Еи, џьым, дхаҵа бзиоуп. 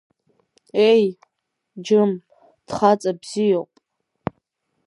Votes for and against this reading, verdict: 2, 0, accepted